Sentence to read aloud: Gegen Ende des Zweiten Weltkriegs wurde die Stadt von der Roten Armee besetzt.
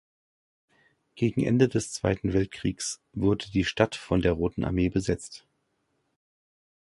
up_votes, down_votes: 1, 2